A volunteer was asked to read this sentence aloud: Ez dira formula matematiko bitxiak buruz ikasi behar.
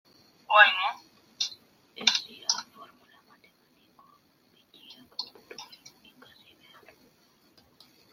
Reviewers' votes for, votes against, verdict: 0, 2, rejected